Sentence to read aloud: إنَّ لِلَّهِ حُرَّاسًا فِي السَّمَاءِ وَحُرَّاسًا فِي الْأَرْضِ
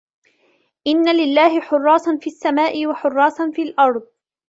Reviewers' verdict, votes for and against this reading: accepted, 2, 0